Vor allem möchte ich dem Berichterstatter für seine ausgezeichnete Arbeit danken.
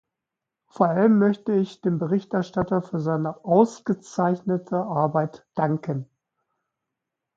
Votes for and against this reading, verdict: 2, 0, accepted